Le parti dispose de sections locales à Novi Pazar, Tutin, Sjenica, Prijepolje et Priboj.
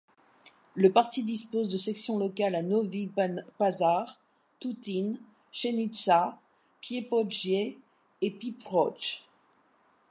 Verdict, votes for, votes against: rejected, 0, 2